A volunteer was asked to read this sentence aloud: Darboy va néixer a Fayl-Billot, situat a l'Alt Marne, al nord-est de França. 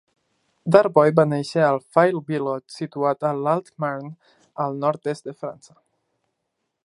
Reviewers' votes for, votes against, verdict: 2, 0, accepted